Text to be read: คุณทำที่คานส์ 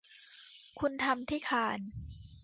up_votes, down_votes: 2, 0